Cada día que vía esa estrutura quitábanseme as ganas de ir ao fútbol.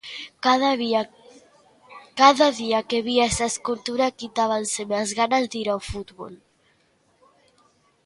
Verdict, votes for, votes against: rejected, 1, 2